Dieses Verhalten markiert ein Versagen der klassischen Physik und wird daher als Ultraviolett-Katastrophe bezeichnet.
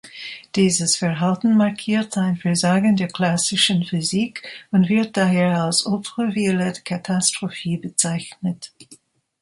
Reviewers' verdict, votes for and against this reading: rejected, 1, 2